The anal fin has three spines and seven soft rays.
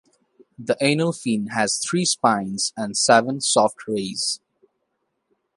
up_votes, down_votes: 2, 0